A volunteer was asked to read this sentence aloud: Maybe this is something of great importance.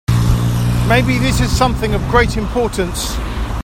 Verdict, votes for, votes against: accepted, 2, 1